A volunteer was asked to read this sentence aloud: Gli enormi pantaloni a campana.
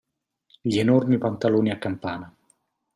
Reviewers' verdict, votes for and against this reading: accepted, 2, 0